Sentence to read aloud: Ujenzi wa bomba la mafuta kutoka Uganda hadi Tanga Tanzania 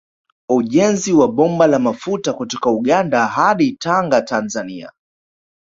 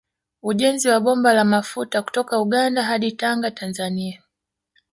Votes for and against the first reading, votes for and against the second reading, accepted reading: 1, 2, 2, 0, second